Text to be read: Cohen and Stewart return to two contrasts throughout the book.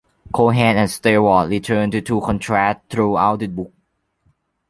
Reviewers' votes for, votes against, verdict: 0, 2, rejected